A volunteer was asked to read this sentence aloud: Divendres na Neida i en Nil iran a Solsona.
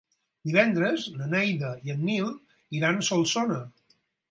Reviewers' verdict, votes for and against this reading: rejected, 0, 4